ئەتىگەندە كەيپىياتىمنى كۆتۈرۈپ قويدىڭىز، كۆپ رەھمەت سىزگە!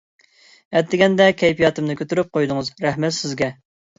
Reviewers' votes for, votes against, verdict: 0, 2, rejected